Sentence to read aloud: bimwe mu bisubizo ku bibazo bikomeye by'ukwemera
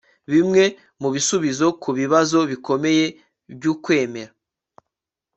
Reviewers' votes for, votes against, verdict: 3, 0, accepted